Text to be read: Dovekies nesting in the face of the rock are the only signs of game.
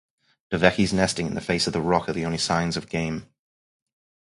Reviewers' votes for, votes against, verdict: 2, 0, accepted